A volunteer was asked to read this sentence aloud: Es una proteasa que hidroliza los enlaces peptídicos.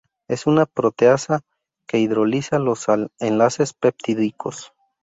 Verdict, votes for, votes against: rejected, 0, 2